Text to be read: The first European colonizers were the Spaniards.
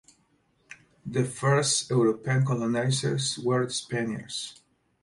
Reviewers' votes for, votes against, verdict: 0, 2, rejected